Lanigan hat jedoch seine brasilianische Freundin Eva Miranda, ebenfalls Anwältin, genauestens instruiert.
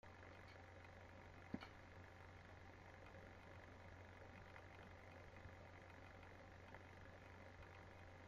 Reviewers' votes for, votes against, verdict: 0, 2, rejected